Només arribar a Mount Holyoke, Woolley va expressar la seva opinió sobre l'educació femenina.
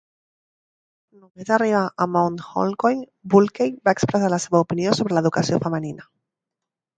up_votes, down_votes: 0, 3